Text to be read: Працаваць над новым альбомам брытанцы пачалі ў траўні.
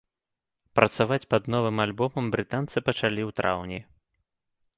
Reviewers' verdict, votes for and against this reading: rejected, 1, 2